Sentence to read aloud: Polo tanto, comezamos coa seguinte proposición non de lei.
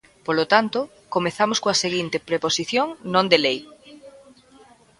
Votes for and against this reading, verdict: 0, 3, rejected